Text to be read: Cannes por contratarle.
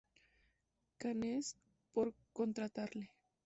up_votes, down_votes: 2, 0